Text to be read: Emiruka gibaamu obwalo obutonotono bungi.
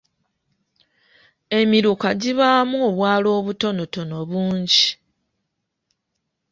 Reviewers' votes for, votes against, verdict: 2, 0, accepted